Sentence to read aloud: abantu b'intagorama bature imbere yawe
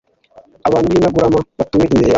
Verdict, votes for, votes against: rejected, 1, 2